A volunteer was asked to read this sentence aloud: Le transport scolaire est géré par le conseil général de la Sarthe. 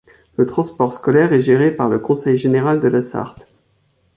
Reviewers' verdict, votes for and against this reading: accepted, 2, 0